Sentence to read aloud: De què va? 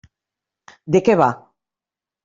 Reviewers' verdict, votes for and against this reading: accepted, 3, 0